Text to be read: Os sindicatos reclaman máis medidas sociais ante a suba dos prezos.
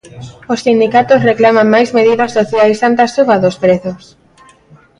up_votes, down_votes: 1, 2